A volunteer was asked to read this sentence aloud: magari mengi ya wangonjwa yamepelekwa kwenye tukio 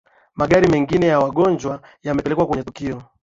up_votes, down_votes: 9, 0